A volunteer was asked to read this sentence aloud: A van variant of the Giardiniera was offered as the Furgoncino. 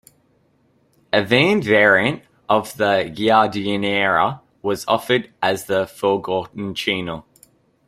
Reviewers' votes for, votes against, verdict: 1, 2, rejected